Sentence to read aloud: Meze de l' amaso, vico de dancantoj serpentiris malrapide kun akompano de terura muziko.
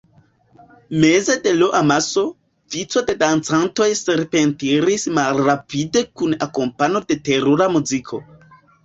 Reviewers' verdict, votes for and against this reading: rejected, 0, 2